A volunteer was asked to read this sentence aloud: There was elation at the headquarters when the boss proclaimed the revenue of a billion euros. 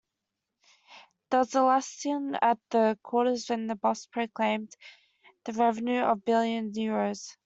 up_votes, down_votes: 1, 2